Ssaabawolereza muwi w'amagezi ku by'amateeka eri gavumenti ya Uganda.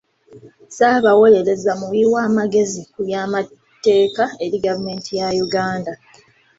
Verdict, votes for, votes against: accepted, 2, 1